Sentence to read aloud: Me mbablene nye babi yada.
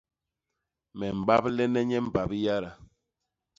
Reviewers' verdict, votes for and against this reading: rejected, 1, 2